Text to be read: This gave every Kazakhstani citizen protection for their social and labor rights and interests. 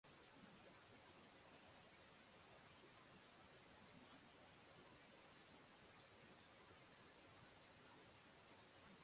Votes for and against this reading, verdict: 0, 6, rejected